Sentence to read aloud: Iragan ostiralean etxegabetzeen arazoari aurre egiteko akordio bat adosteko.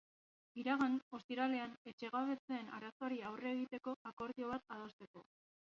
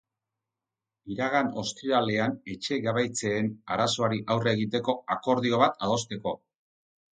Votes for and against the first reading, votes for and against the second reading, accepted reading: 0, 2, 4, 2, second